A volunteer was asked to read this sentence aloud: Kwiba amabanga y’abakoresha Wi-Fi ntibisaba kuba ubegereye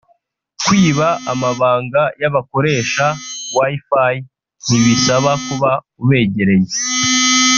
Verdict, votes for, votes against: rejected, 1, 2